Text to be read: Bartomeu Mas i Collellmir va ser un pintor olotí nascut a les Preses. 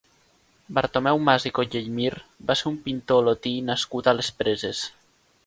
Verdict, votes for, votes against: accepted, 2, 0